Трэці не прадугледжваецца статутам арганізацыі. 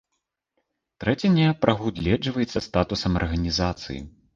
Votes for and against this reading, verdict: 1, 2, rejected